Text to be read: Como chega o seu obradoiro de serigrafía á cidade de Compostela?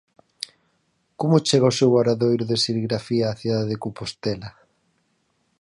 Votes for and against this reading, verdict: 4, 0, accepted